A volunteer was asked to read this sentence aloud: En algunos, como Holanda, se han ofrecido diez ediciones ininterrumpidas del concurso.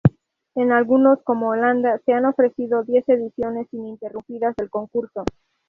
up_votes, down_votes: 0, 2